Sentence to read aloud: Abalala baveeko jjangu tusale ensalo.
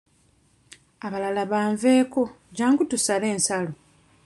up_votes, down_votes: 1, 2